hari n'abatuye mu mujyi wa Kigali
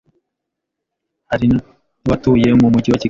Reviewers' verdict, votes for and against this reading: rejected, 0, 2